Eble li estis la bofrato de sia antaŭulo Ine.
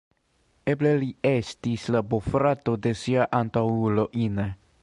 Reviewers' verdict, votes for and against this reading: rejected, 0, 2